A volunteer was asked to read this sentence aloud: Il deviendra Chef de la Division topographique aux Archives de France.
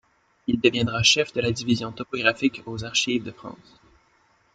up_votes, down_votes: 2, 0